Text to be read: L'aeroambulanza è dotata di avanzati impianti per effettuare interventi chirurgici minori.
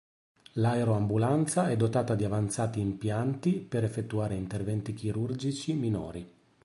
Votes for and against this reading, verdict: 2, 0, accepted